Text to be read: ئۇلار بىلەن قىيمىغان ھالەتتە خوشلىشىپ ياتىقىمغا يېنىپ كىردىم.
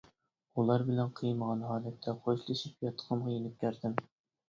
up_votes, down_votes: 1, 2